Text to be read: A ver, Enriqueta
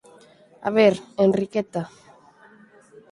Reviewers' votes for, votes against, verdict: 4, 0, accepted